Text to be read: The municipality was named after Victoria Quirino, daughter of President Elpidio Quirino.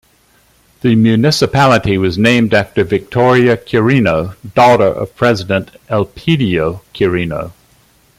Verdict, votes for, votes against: accepted, 2, 0